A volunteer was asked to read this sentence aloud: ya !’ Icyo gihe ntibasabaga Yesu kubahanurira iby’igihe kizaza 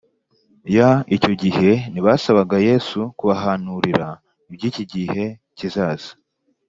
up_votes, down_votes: 2, 0